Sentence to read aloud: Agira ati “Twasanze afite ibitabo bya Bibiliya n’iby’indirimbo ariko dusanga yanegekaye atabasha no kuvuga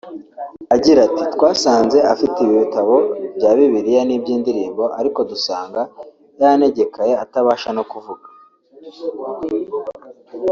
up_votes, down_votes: 1, 2